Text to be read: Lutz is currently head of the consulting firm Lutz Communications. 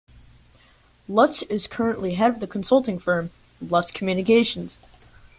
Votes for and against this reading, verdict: 2, 0, accepted